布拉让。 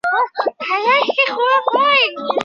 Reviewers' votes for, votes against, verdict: 0, 2, rejected